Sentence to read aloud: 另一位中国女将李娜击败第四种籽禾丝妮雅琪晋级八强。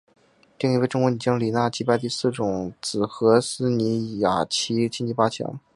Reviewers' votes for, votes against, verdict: 2, 0, accepted